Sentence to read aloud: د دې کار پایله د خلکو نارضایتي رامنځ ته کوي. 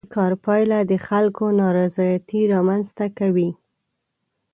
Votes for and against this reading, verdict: 0, 2, rejected